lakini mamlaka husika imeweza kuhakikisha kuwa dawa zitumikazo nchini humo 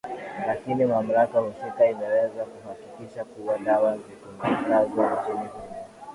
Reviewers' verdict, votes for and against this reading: accepted, 2, 0